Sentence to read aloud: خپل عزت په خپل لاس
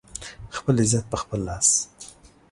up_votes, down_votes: 2, 0